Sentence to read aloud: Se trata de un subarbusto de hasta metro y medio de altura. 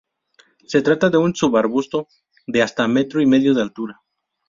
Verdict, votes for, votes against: rejected, 0, 2